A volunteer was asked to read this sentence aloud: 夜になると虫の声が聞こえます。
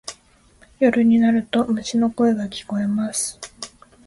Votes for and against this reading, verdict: 2, 0, accepted